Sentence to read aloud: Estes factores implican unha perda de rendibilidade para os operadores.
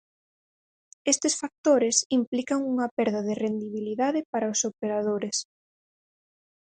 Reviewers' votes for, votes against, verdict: 4, 0, accepted